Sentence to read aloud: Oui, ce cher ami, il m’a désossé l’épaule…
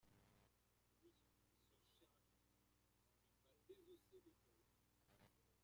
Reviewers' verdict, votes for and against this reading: rejected, 0, 2